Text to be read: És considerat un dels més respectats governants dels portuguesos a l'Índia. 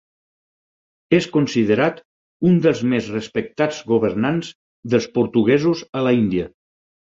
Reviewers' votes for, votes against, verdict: 4, 6, rejected